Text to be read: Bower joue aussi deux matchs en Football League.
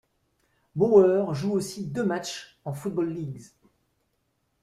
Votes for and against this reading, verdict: 0, 2, rejected